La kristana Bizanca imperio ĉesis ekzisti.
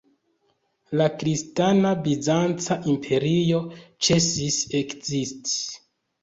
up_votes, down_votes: 1, 2